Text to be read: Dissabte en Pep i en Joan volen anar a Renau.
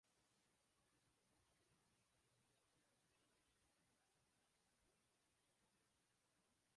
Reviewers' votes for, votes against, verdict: 0, 2, rejected